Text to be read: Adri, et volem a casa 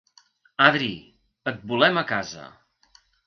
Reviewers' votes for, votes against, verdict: 3, 0, accepted